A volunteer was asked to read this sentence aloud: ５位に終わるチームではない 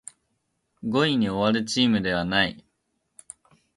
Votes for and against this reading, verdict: 0, 2, rejected